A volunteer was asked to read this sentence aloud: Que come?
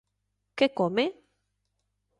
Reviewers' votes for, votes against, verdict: 2, 0, accepted